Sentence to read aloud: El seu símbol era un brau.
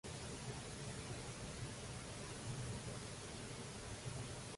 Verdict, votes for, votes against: rejected, 0, 2